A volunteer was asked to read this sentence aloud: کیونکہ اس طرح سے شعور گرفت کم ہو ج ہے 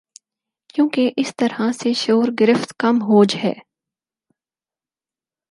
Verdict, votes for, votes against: accepted, 4, 0